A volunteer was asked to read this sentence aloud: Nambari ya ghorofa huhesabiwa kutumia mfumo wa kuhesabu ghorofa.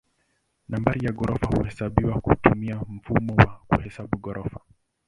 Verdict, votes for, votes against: accepted, 2, 1